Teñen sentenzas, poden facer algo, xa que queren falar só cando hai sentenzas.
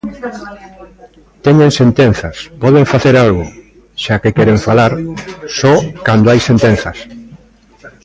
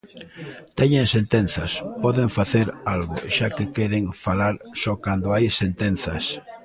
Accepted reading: second